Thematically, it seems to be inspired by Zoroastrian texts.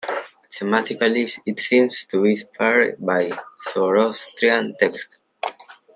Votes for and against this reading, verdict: 2, 1, accepted